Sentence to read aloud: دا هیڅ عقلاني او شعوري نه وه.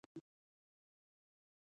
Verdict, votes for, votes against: rejected, 1, 2